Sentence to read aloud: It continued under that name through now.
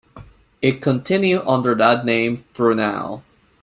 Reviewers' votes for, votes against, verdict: 1, 2, rejected